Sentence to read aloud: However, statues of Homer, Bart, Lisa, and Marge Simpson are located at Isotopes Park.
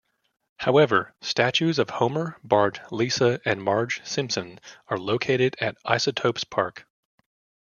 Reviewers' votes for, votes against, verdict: 2, 0, accepted